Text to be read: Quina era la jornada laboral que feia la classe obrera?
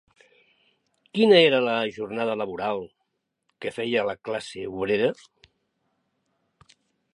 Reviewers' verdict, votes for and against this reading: accepted, 3, 0